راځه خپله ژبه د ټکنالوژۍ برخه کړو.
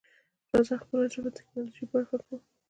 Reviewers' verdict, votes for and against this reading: accepted, 2, 0